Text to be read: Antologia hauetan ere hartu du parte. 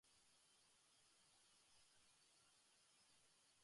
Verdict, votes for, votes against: rejected, 0, 2